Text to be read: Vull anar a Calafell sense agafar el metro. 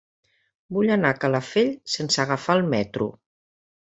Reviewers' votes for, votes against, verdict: 5, 0, accepted